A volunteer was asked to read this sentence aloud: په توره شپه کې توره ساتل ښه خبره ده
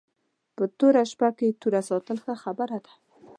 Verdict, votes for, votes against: accepted, 2, 0